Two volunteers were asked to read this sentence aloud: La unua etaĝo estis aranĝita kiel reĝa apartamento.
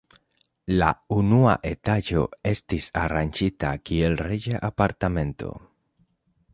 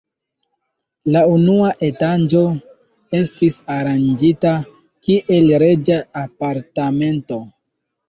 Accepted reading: first